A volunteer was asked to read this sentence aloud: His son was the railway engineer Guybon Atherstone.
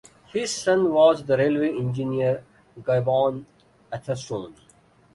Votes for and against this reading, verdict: 2, 0, accepted